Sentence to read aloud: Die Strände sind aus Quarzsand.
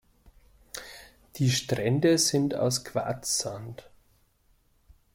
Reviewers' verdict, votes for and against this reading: accepted, 2, 1